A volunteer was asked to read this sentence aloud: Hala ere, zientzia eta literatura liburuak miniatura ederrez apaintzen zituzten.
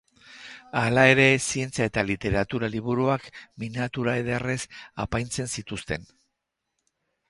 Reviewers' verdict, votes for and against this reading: accepted, 10, 0